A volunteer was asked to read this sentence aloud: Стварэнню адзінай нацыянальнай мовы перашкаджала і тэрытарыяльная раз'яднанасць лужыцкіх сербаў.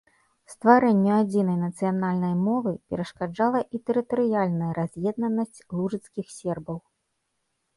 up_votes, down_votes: 1, 2